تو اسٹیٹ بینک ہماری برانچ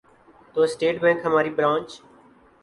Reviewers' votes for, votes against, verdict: 2, 0, accepted